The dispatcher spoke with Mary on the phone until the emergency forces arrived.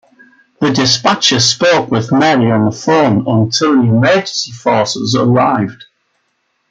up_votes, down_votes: 0, 2